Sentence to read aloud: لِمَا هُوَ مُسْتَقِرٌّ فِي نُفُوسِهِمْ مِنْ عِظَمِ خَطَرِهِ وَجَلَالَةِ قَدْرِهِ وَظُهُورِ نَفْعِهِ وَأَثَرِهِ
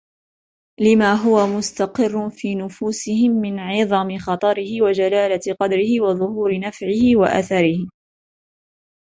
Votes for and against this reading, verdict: 3, 1, accepted